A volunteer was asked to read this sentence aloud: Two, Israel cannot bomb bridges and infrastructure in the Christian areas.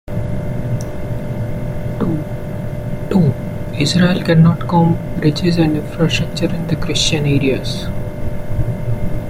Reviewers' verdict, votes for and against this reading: rejected, 1, 2